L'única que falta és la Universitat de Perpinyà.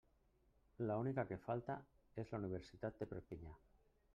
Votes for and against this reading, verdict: 1, 2, rejected